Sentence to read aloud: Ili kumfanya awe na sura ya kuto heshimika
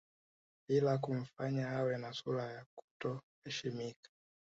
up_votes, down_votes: 0, 2